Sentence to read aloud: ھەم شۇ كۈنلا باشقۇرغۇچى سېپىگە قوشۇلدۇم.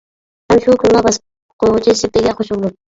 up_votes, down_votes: 0, 2